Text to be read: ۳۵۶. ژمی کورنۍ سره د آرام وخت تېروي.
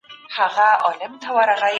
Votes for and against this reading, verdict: 0, 2, rejected